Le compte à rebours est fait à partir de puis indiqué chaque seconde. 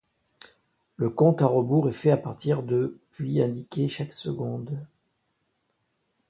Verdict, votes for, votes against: accepted, 2, 0